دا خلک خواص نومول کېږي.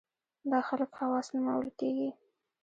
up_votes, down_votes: 0, 2